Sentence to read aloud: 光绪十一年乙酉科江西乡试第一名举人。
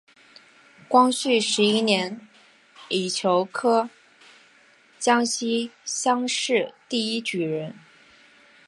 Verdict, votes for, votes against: rejected, 2, 4